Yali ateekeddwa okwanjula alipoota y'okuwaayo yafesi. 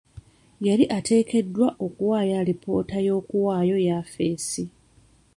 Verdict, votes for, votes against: rejected, 0, 2